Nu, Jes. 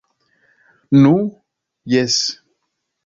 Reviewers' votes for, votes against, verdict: 2, 0, accepted